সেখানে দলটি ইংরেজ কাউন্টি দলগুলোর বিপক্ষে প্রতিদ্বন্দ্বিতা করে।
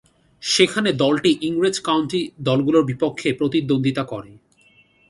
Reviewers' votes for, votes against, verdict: 2, 0, accepted